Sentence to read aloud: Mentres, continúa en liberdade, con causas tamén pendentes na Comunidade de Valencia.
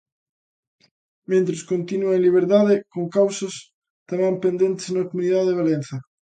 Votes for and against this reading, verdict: 0, 2, rejected